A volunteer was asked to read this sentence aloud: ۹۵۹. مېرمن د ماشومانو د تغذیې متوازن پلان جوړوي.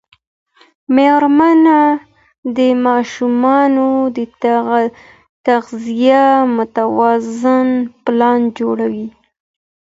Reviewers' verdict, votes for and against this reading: rejected, 0, 2